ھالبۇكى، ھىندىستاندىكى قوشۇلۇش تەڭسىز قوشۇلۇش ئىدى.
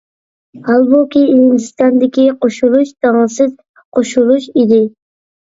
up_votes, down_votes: 0, 2